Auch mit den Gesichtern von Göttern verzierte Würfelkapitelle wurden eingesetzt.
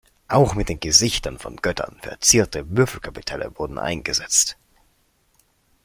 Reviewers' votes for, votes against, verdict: 2, 0, accepted